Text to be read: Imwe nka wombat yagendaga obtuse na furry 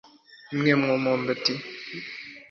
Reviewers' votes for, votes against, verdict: 0, 2, rejected